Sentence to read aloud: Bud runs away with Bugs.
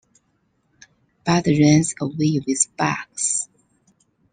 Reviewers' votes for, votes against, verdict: 2, 1, accepted